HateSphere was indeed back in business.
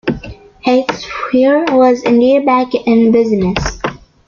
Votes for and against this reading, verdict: 0, 2, rejected